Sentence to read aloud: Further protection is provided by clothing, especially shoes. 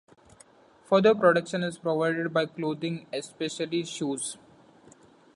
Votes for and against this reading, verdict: 2, 0, accepted